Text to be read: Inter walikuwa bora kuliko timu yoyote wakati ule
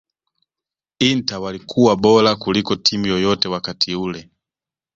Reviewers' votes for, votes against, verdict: 2, 1, accepted